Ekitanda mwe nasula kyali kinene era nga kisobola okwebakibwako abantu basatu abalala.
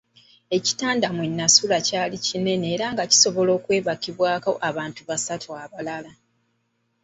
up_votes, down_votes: 2, 0